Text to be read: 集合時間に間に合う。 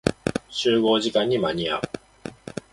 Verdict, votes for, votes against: accepted, 3, 0